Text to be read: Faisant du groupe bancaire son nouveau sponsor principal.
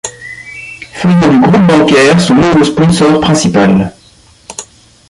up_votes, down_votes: 0, 2